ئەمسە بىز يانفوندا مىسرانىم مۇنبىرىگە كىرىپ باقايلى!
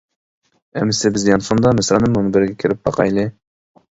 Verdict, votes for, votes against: accepted, 2, 0